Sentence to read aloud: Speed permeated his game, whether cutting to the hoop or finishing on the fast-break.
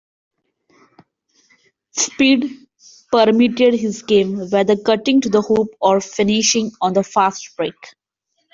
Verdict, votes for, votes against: accepted, 2, 0